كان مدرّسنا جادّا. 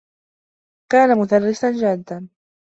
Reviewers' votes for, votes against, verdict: 2, 0, accepted